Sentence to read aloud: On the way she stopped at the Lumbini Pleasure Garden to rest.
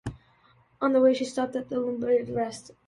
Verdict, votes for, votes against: rejected, 0, 2